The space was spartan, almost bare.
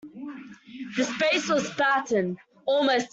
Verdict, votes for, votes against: rejected, 0, 2